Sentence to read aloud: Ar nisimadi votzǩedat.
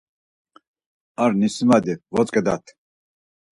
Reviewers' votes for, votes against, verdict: 4, 0, accepted